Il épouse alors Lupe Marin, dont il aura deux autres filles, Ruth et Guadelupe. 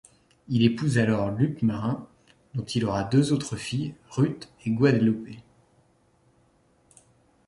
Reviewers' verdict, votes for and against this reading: accepted, 2, 0